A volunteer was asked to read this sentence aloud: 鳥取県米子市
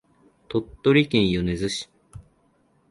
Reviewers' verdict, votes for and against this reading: rejected, 1, 2